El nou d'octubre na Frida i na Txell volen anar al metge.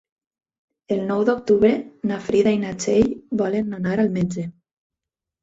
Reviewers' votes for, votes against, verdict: 4, 0, accepted